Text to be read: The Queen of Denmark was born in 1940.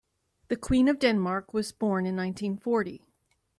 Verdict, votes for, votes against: rejected, 0, 2